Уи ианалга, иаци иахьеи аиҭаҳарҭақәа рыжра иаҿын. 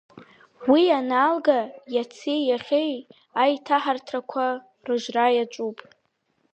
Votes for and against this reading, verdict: 3, 0, accepted